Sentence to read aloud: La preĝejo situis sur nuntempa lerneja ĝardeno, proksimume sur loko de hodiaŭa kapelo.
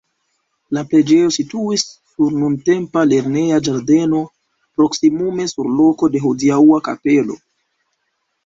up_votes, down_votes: 2, 0